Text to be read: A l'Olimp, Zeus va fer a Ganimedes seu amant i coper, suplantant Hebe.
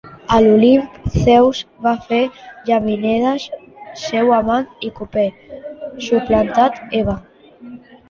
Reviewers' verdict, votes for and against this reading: rejected, 0, 3